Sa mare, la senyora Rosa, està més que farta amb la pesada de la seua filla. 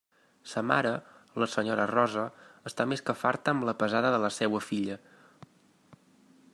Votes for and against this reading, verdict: 2, 0, accepted